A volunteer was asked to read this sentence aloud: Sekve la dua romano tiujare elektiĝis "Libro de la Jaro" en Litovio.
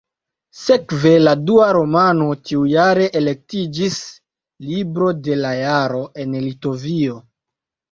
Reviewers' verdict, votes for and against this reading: accepted, 2, 0